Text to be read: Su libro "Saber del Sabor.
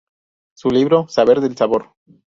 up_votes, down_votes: 2, 0